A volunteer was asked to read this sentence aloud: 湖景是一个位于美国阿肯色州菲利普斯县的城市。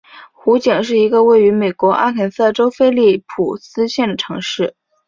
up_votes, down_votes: 3, 0